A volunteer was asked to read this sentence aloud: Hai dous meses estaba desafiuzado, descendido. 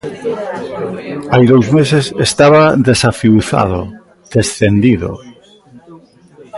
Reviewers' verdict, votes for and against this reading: rejected, 0, 2